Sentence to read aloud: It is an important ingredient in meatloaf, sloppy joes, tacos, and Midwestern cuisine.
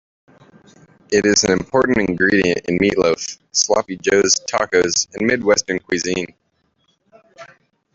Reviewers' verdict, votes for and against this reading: rejected, 0, 2